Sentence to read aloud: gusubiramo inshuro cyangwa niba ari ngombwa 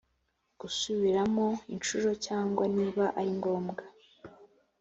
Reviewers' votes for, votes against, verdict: 2, 0, accepted